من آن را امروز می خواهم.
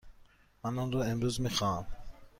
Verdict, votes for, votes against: accepted, 2, 0